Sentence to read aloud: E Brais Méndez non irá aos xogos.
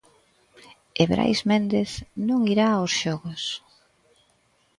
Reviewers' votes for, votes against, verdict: 2, 0, accepted